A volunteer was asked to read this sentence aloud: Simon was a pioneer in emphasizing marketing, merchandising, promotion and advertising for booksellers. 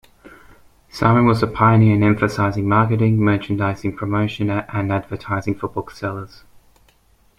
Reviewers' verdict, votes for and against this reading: rejected, 2, 3